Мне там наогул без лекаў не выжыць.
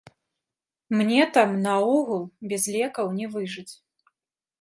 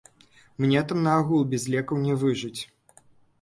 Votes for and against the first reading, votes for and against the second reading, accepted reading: 3, 0, 1, 2, first